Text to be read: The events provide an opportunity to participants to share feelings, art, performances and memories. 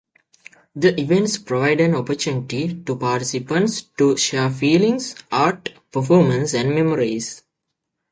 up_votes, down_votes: 1, 2